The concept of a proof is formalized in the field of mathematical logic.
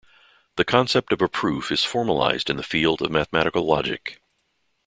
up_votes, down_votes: 2, 0